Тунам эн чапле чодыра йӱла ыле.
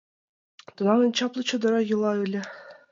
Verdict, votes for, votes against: accepted, 2, 0